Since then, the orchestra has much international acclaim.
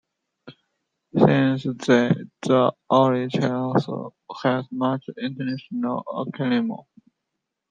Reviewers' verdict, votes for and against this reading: rejected, 0, 2